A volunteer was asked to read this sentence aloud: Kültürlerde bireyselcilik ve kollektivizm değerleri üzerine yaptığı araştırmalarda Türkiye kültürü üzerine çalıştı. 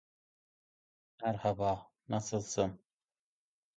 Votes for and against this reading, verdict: 0, 2, rejected